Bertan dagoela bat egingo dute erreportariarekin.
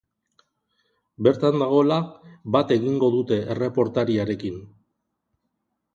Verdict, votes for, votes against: accepted, 2, 0